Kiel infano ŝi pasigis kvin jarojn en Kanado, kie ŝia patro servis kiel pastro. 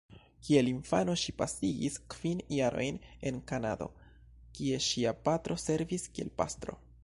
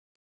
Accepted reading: first